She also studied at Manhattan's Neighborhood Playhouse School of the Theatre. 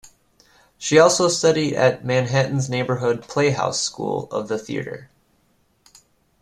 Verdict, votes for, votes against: accepted, 2, 0